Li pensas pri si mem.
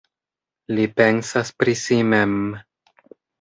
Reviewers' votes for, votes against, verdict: 2, 0, accepted